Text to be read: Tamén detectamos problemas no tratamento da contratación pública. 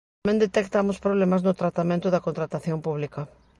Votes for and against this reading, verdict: 0, 2, rejected